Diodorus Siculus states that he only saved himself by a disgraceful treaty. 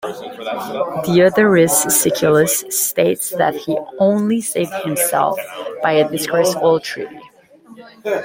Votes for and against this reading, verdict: 2, 0, accepted